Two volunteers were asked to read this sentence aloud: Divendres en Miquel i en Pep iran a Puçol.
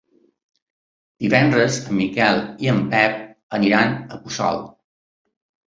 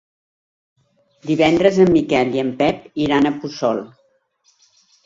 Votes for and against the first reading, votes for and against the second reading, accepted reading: 1, 2, 2, 1, second